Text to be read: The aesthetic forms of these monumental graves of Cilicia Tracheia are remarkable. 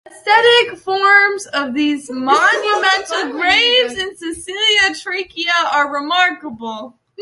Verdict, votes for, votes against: rejected, 0, 2